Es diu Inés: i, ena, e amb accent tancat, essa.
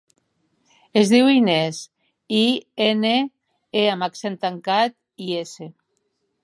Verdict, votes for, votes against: rejected, 0, 4